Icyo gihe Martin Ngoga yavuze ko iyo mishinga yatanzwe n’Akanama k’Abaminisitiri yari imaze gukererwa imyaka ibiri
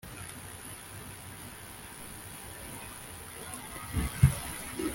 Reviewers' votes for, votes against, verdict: 0, 2, rejected